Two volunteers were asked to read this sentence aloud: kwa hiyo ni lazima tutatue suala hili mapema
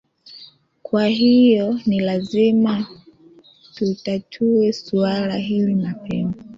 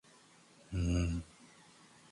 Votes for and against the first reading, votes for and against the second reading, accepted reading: 2, 1, 0, 4, first